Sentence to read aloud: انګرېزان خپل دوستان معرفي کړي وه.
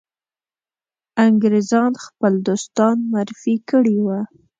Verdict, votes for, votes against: accepted, 2, 0